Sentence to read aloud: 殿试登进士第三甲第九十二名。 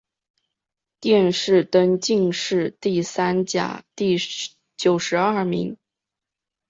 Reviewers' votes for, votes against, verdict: 2, 0, accepted